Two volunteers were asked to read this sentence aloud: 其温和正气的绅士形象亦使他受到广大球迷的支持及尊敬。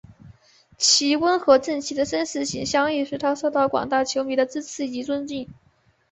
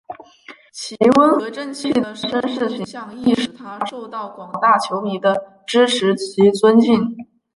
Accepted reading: first